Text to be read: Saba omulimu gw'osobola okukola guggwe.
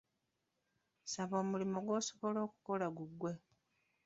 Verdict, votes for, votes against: rejected, 0, 2